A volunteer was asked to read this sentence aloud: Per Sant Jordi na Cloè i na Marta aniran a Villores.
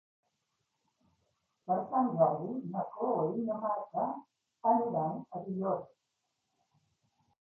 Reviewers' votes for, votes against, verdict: 1, 2, rejected